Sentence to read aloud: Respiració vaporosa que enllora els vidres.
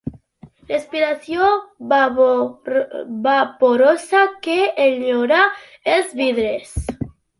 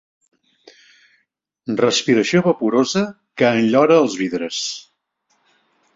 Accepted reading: second